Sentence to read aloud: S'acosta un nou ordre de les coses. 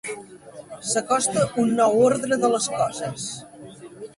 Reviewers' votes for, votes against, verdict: 1, 2, rejected